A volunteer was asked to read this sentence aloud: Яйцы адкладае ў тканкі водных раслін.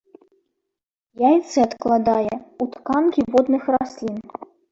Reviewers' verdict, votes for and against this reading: accepted, 2, 1